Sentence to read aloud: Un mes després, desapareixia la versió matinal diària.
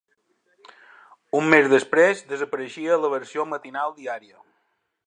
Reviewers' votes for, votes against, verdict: 3, 0, accepted